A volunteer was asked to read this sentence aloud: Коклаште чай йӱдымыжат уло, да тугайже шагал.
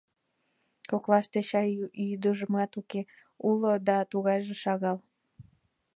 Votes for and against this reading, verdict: 1, 2, rejected